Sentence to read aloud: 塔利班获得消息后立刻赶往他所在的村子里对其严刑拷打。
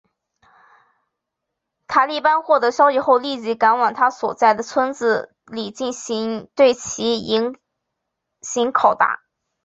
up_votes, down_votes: 0, 2